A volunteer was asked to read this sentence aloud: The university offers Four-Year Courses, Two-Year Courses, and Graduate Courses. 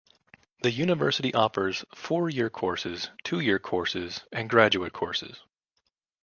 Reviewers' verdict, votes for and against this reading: accepted, 2, 0